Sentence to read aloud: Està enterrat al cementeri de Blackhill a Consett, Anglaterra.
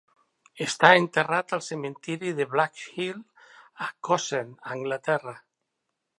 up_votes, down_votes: 1, 3